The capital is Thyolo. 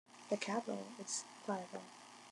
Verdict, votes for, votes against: rejected, 1, 2